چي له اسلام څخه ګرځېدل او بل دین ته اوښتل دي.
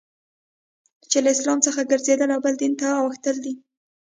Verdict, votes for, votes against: accepted, 2, 0